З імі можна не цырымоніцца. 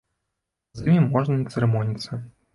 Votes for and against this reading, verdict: 1, 2, rejected